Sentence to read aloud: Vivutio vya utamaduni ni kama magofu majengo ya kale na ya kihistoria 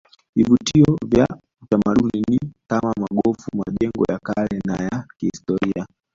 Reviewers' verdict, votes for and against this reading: rejected, 1, 2